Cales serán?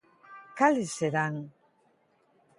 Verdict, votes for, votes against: accepted, 2, 0